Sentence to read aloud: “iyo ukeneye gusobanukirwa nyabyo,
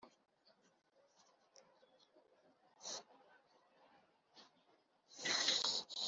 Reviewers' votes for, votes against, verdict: 1, 2, rejected